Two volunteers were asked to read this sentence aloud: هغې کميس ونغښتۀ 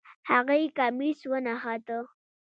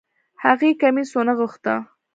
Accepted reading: second